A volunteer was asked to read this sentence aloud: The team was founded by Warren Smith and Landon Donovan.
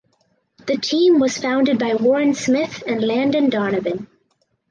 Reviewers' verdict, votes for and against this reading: accepted, 4, 0